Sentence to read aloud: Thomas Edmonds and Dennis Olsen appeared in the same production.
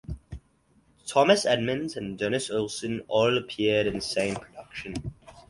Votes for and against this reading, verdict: 0, 4, rejected